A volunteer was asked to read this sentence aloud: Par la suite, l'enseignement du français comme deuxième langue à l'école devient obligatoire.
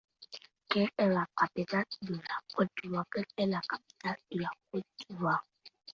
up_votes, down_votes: 0, 2